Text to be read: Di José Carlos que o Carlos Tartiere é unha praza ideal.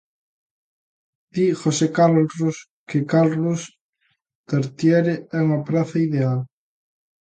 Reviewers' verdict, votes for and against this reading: rejected, 0, 2